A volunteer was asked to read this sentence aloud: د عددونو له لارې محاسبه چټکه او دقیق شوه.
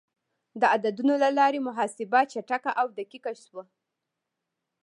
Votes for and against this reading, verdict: 2, 1, accepted